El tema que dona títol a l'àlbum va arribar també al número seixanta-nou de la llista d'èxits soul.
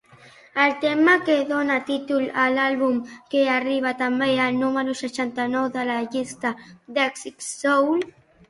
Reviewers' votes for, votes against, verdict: 0, 2, rejected